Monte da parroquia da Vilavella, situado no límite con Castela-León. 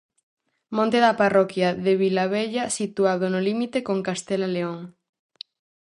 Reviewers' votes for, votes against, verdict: 0, 4, rejected